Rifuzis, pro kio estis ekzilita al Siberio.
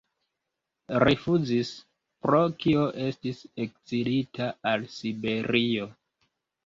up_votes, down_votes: 3, 0